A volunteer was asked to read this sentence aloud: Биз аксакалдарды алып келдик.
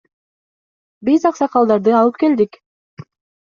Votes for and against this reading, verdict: 2, 0, accepted